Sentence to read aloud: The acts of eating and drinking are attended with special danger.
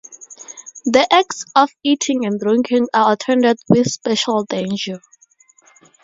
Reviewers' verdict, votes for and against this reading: accepted, 2, 0